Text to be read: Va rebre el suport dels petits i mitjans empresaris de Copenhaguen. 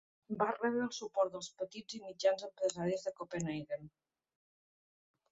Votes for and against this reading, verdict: 1, 2, rejected